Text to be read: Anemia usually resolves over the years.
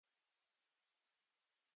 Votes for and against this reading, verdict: 0, 2, rejected